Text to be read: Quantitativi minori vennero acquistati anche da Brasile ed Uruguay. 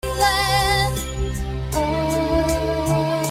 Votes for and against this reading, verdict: 0, 2, rejected